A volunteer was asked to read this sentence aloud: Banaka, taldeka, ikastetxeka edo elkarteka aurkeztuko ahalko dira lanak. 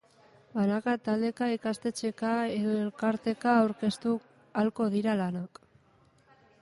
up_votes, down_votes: 3, 1